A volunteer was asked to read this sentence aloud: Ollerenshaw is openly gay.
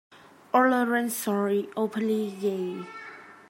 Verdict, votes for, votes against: rejected, 0, 2